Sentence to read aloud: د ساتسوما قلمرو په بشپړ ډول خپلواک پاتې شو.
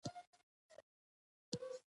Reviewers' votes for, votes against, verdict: 0, 2, rejected